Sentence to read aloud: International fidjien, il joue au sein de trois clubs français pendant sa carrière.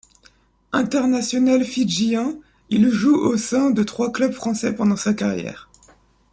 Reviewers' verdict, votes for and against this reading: accepted, 2, 0